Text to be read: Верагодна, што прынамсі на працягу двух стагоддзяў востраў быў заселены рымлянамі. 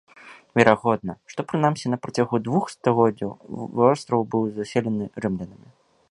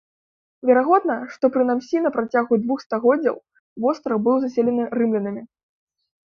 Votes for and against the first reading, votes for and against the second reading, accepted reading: 2, 0, 0, 2, first